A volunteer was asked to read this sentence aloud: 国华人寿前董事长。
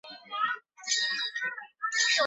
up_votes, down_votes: 0, 5